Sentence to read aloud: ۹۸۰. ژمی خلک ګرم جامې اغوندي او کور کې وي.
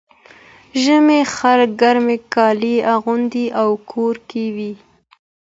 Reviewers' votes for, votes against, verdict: 0, 2, rejected